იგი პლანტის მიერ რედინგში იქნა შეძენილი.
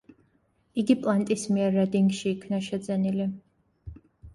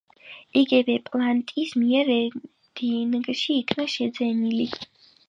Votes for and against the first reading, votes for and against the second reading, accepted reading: 2, 0, 0, 3, first